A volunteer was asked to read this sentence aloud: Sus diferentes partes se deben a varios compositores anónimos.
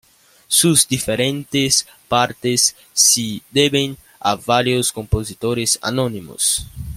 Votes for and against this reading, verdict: 2, 1, accepted